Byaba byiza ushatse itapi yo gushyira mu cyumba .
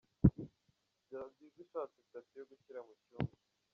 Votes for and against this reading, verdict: 0, 3, rejected